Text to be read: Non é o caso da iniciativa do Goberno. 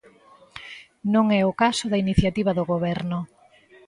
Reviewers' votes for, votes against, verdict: 2, 0, accepted